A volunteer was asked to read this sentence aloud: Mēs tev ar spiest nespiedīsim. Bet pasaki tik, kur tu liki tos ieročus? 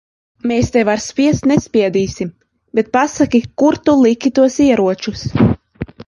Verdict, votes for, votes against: rejected, 0, 2